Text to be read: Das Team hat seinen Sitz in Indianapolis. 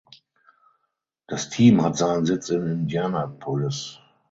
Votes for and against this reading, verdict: 3, 6, rejected